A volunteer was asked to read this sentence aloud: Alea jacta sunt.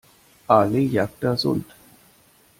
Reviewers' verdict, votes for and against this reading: rejected, 0, 2